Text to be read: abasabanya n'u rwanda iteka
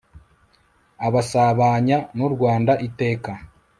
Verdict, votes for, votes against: accepted, 2, 0